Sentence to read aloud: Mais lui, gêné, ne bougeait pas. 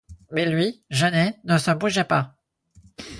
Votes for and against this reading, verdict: 2, 4, rejected